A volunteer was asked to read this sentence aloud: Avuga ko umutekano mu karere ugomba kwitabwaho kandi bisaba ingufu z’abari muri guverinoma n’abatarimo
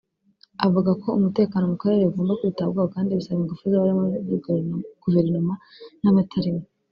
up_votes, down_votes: 1, 2